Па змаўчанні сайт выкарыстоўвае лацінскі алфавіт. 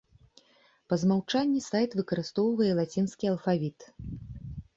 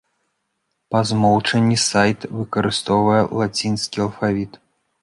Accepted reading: first